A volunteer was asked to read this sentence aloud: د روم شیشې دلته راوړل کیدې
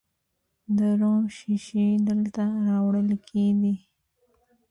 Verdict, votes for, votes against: accepted, 2, 1